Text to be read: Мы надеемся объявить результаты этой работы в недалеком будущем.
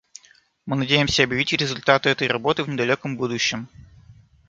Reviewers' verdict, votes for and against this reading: rejected, 1, 2